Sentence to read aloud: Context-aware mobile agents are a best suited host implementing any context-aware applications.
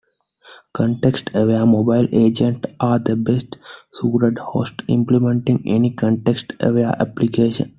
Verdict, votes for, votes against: accepted, 2, 0